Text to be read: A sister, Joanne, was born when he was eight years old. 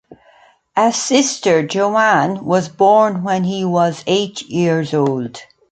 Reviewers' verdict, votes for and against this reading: accepted, 2, 0